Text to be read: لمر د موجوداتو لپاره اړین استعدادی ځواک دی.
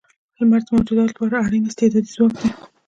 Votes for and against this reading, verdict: 1, 2, rejected